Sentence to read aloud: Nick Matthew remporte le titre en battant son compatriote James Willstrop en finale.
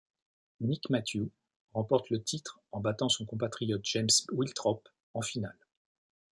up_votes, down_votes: 0, 2